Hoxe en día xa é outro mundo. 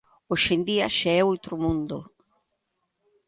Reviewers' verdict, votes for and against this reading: accepted, 2, 0